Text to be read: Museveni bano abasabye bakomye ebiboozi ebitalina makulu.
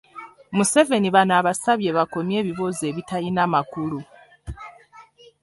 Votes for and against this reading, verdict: 1, 2, rejected